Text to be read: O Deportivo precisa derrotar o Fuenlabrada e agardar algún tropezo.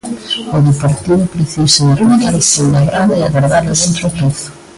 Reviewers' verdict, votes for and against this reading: rejected, 0, 2